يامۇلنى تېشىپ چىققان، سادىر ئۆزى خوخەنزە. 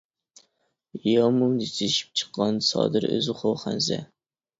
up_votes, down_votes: 0, 2